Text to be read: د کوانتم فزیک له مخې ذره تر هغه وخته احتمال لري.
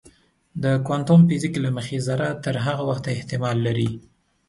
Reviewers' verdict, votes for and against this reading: accepted, 2, 0